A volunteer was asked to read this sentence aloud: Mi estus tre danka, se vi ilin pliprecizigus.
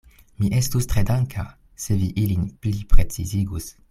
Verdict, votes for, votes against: accepted, 2, 0